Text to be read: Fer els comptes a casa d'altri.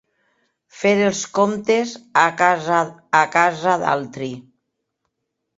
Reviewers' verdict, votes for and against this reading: rejected, 0, 3